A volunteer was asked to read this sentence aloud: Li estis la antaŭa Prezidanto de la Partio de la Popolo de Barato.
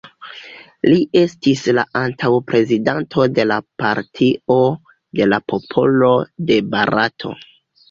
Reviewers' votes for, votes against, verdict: 2, 1, accepted